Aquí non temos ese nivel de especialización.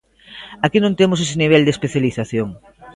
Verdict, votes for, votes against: accepted, 2, 0